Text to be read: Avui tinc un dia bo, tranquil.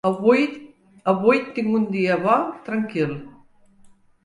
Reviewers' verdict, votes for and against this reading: rejected, 1, 2